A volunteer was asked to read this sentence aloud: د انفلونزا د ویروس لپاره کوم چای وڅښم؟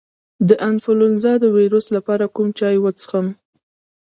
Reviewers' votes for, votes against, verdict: 1, 2, rejected